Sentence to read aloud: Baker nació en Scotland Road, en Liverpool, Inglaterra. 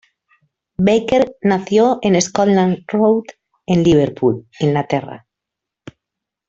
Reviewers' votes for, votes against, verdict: 2, 0, accepted